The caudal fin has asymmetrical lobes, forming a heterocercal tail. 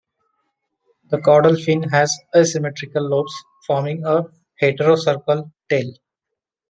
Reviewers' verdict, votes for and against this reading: accepted, 2, 0